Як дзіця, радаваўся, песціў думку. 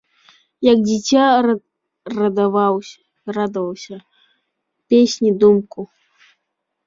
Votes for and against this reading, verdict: 0, 2, rejected